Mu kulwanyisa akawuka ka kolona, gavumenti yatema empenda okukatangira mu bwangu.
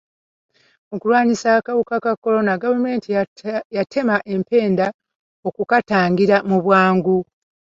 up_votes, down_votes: 0, 2